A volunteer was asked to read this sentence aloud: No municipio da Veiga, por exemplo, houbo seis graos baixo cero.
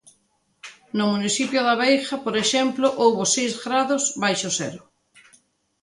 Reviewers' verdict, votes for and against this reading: accepted, 2, 1